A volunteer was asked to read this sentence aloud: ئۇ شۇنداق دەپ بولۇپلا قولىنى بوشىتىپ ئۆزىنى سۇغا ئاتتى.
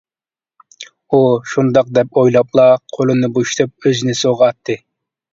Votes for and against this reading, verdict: 0, 2, rejected